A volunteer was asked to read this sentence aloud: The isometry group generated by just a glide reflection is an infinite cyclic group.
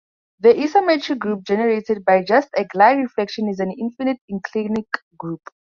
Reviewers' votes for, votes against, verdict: 2, 4, rejected